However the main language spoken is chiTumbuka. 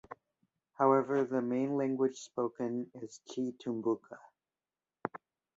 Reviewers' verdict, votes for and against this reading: accepted, 2, 0